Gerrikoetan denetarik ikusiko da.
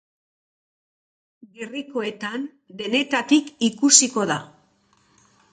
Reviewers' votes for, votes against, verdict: 1, 2, rejected